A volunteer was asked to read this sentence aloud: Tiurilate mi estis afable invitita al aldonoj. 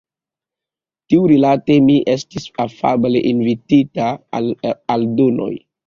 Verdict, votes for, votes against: accepted, 2, 0